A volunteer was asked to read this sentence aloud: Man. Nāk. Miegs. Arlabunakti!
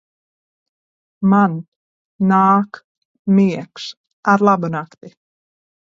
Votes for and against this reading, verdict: 2, 0, accepted